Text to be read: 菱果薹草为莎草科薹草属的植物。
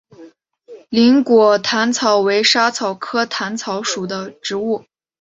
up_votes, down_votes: 3, 0